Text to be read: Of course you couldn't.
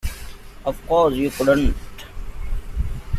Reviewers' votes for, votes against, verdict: 1, 2, rejected